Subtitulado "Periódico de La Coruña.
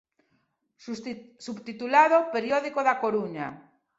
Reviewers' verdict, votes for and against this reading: rejected, 0, 2